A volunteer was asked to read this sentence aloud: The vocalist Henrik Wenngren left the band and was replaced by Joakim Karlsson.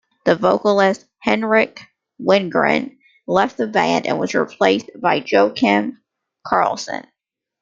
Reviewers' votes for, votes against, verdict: 2, 1, accepted